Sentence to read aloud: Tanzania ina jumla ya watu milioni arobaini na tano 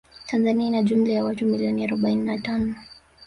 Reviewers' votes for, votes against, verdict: 3, 0, accepted